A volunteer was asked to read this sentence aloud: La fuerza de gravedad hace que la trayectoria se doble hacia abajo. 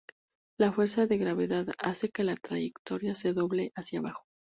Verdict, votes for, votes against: accepted, 2, 0